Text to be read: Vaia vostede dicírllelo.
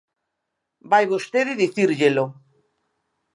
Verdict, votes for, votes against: rejected, 1, 2